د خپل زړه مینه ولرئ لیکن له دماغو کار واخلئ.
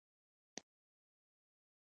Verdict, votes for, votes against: accepted, 2, 1